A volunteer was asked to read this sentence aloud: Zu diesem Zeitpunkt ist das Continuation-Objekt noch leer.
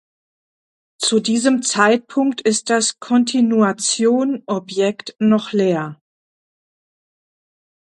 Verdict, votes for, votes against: rejected, 1, 2